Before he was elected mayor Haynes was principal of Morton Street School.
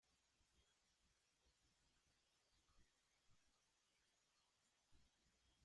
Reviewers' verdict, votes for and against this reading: rejected, 0, 2